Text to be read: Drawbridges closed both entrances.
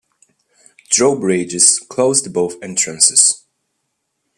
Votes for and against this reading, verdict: 2, 1, accepted